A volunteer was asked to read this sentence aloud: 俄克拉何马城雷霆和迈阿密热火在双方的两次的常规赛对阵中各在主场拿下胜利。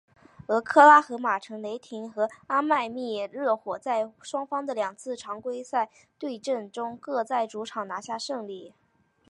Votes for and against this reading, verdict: 2, 1, accepted